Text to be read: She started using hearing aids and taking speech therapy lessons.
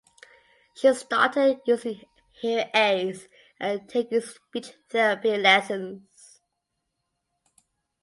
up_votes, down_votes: 1, 2